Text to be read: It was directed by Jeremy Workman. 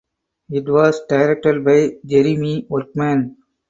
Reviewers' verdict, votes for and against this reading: accepted, 4, 0